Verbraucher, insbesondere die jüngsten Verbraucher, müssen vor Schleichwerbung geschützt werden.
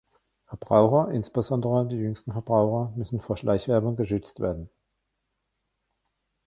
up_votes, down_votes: 1, 2